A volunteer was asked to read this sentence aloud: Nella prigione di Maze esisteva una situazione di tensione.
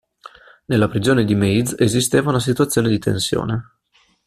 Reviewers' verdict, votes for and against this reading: accepted, 2, 0